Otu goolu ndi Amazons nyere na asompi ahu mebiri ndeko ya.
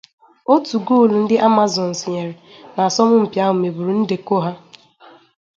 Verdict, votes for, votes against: rejected, 0, 2